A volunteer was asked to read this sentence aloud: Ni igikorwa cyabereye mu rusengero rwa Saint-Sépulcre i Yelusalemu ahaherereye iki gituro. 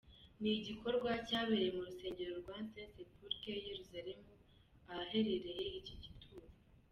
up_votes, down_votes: 2, 1